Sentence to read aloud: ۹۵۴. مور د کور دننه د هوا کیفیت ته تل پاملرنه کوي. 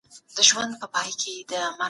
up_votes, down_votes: 0, 2